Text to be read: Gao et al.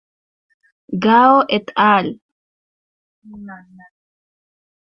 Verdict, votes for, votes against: accepted, 2, 0